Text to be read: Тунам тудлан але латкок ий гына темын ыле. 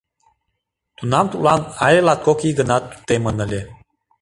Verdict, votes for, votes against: accepted, 2, 1